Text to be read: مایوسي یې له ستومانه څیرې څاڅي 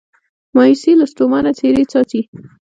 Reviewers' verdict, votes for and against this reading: rejected, 0, 2